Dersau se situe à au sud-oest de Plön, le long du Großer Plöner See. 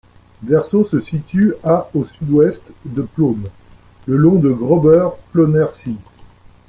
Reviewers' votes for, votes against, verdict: 0, 2, rejected